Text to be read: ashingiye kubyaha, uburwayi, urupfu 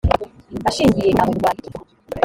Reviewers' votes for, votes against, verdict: 0, 2, rejected